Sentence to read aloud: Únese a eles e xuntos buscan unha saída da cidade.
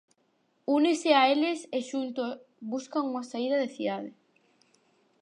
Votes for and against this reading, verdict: 0, 4, rejected